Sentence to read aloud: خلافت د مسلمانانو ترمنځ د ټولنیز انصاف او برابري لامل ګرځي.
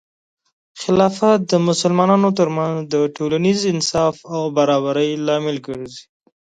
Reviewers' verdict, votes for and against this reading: accepted, 2, 0